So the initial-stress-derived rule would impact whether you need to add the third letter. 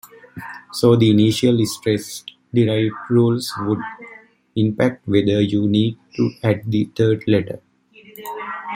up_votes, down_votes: 2, 0